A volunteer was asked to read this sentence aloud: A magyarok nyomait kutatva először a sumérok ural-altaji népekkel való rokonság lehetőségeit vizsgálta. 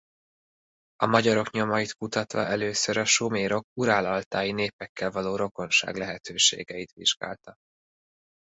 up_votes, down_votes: 2, 0